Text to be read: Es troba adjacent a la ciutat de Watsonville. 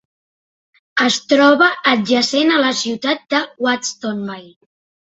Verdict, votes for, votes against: rejected, 1, 2